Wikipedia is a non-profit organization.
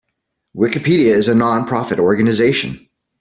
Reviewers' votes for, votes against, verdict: 2, 0, accepted